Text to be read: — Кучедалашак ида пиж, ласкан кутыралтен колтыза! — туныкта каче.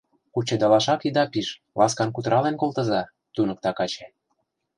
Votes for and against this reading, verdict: 0, 2, rejected